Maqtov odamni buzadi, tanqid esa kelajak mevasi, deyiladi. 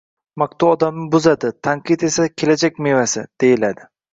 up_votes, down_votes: 2, 0